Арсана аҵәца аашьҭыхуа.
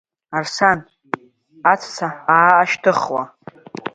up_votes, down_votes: 2, 1